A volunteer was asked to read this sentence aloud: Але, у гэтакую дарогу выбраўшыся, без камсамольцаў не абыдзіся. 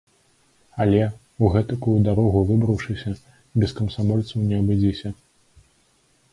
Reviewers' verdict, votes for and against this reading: accepted, 2, 0